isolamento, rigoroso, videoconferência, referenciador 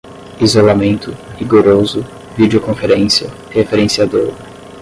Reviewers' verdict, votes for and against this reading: rejected, 5, 5